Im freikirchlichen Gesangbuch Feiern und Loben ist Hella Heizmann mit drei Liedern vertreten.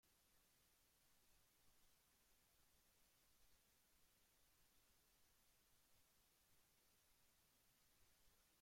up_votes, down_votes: 0, 2